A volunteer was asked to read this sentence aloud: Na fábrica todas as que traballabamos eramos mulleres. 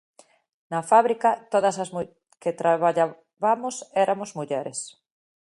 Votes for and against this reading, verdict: 0, 2, rejected